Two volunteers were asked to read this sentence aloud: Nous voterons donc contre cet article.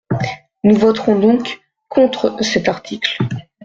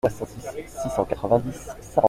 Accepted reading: first